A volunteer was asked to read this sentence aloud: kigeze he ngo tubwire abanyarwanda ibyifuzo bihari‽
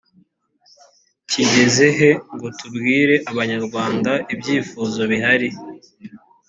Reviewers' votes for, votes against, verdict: 2, 0, accepted